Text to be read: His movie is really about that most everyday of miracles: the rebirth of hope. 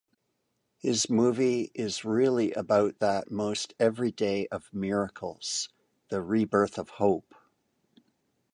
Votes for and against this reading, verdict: 2, 0, accepted